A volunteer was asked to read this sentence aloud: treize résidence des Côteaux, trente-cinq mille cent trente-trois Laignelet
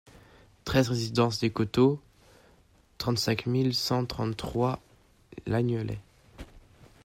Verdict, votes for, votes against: rejected, 1, 2